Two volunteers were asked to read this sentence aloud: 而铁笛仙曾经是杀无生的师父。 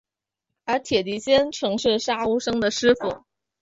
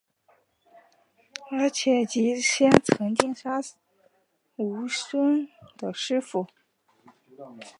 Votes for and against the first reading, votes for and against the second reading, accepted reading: 2, 0, 0, 3, first